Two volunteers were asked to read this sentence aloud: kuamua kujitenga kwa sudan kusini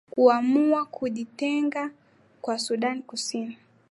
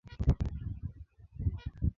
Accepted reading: first